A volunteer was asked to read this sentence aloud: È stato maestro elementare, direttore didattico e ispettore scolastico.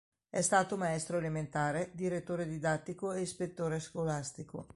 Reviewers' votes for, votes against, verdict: 2, 0, accepted